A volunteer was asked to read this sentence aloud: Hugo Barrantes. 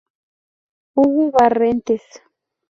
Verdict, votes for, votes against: rejected, 0, 2